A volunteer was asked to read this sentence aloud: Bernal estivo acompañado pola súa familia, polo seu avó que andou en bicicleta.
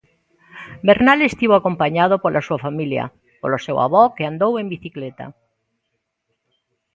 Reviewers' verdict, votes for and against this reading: accepted, 2, 0